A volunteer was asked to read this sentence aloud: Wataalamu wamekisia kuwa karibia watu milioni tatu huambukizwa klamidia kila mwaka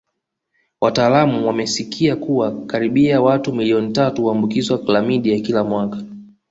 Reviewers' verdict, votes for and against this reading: rejected, 0, 2